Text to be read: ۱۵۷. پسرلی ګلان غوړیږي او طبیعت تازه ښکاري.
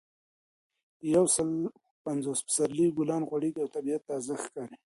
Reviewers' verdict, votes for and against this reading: rejected, 0, 2